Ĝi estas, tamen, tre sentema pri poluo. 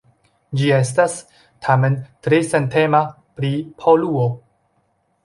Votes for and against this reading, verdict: 3, 0, accepted